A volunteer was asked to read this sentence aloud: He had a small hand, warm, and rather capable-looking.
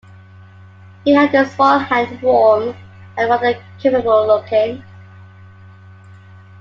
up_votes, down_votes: 2, 1